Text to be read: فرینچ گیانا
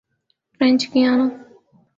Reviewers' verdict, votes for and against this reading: accepted, 4, 0